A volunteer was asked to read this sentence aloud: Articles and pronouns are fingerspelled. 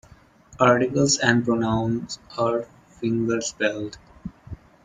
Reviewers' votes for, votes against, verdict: 2, 0, accepted